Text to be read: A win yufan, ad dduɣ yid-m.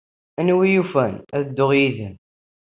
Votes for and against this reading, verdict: 1, 2, rejected